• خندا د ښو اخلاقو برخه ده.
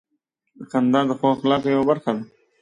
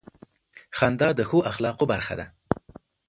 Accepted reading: second